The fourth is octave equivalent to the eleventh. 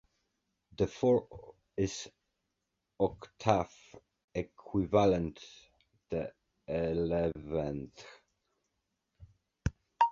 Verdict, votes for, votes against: rejected, 0, 2